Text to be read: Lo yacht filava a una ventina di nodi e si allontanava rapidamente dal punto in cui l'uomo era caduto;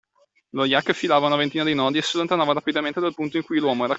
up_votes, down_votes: 0, 2